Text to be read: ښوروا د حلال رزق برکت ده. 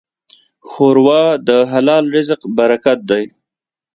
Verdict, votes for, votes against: accepted, 2, 0